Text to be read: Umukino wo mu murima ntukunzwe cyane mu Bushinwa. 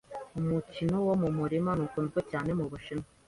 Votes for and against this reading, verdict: 2, 1, accepted